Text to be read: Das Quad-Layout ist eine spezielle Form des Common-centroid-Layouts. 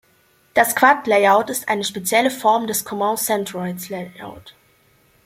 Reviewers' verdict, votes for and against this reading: rejected, 0, 2